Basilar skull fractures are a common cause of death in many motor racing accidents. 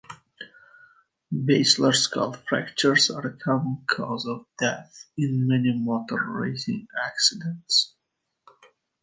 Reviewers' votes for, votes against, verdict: 2, 0, accepted